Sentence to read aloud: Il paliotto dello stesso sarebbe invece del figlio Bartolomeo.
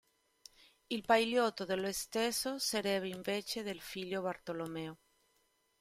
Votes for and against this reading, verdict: 1, 2, rejected